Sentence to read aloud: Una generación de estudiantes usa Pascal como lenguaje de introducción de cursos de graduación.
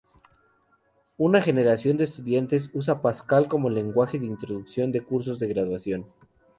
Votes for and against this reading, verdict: 4, 0, accepted